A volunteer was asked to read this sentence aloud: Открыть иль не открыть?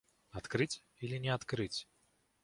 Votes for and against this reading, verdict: 2, 0, accepted